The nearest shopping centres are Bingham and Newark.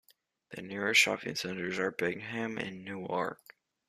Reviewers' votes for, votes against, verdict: 2, 1, accepted